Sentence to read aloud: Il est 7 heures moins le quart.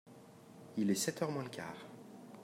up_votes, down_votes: 0, 2